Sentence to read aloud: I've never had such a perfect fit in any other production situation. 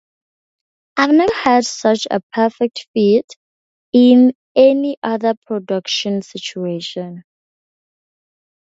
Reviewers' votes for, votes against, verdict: 4, 0, accepted